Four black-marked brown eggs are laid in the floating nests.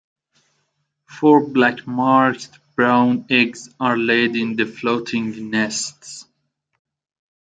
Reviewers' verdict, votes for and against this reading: accepted, 2, 0